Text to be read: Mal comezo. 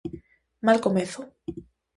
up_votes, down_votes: 2, 0